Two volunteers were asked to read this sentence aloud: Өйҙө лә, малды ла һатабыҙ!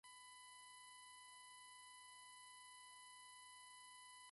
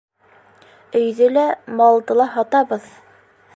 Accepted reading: second